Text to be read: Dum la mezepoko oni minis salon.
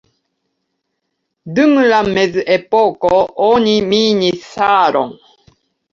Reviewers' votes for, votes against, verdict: 1, 2, rejected